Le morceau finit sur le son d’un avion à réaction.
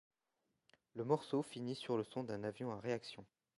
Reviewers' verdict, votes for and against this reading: accepted, 2, 0